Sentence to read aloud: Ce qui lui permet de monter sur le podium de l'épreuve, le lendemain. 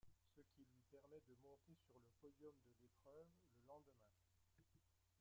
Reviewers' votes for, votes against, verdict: 0, 2, rejected